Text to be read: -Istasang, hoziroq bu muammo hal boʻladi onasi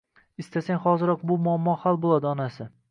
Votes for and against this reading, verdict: 2, 0, accepted